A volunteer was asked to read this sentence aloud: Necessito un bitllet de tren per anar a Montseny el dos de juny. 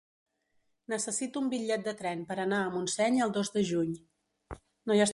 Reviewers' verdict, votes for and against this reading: rejected, 2, 3